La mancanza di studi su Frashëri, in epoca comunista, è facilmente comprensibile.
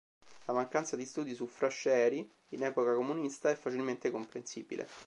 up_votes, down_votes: 2, 0